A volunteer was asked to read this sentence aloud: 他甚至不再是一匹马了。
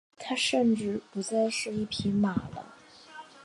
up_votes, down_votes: 2, 0